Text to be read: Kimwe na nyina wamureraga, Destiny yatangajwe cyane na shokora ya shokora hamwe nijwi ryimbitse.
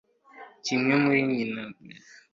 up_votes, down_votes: 0, 2